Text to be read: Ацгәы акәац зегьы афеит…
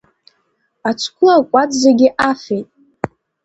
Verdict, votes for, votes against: accepted, 2, 0